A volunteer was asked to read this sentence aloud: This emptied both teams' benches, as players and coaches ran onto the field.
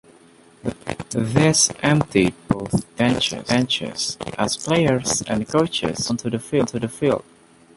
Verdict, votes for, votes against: rejected, 0, 2